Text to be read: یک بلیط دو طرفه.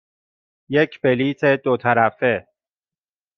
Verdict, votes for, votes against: accepted, 2, 0